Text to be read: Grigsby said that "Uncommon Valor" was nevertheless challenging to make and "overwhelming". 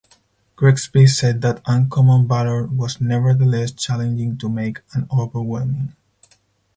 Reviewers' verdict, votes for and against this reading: accepted, 4, 2